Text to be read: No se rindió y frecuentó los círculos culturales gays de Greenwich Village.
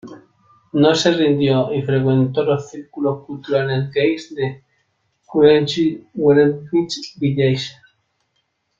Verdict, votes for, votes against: rejected, 0, 2